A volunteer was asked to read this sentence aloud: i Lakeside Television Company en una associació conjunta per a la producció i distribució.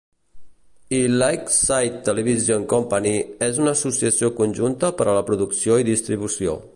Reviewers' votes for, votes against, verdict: 0, 2, rejected